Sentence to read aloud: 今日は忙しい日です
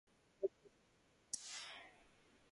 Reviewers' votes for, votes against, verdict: 0, 4, rejected